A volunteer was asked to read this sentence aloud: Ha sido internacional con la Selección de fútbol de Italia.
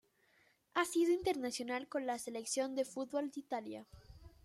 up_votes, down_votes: 2, 0